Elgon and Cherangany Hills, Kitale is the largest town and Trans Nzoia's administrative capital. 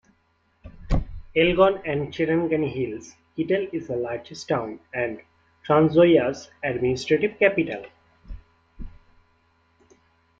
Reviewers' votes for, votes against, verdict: 1, 2, rejected